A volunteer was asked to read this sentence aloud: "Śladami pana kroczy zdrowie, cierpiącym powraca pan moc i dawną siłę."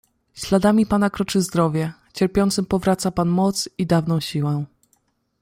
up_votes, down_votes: 2, 0